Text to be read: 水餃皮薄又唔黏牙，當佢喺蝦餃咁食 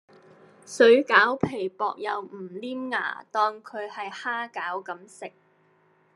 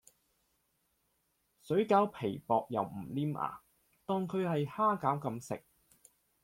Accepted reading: second